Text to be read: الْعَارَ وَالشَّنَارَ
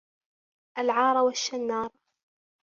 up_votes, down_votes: 1, 2